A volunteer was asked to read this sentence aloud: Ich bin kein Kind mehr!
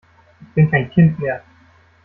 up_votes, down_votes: 0, 2